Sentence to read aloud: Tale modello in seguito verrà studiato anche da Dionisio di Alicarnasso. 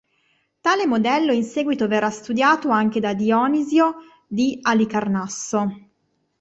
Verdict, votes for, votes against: rejected, 0, 2